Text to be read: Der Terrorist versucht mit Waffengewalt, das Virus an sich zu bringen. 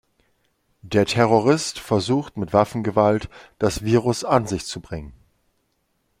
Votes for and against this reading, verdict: 2, 0, accepted